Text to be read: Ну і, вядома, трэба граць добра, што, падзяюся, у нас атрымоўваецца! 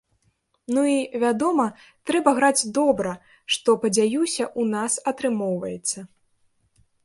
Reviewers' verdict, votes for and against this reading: rejected, 0, 2